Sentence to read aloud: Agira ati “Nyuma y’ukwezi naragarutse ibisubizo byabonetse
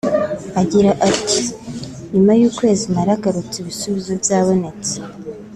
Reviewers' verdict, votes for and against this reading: accepted, 2, 1